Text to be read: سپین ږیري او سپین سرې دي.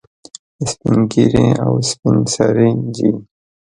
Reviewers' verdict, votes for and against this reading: rejected, 1, 2